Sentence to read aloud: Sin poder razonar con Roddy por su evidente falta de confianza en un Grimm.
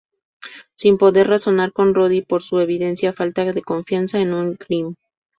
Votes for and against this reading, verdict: 0, 2, rejected